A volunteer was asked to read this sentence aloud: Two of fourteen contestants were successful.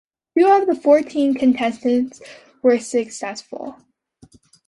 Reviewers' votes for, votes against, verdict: 2, 0, accepted